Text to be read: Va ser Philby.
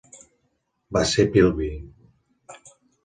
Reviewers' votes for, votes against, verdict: 2, 0, accepted